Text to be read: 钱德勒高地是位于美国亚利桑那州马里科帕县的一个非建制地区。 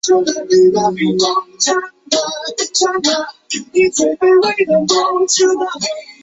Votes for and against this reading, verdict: 0, 2, rejected